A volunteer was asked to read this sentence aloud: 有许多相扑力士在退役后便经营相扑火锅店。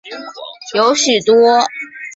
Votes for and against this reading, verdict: 0, 3, rejected